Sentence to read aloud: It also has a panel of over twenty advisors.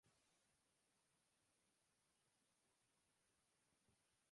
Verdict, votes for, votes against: rejected, 1, 2